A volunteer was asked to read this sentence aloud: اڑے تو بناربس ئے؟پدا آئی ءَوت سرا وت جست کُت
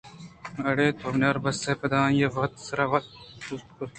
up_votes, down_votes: 1, 2